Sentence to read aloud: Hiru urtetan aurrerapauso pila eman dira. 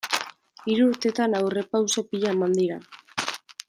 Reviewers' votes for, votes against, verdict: 1, 2, rejected